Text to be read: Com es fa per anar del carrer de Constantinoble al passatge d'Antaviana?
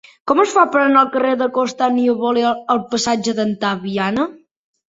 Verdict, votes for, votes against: rejected, 1, 5